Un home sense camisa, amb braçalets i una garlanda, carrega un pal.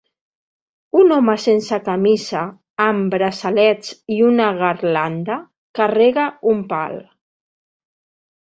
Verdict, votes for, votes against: rejected, 2, 3